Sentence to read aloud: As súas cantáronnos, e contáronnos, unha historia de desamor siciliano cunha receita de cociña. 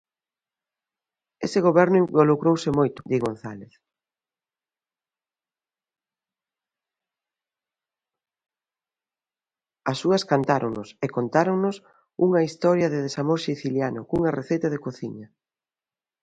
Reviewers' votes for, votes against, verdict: 0, 2, rejected